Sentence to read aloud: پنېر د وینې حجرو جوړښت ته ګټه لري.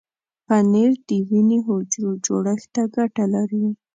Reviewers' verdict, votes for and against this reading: accepted, 2, 0